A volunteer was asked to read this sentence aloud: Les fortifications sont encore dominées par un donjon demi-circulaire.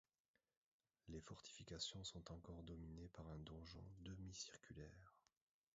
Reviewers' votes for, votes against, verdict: 1, 2, rejected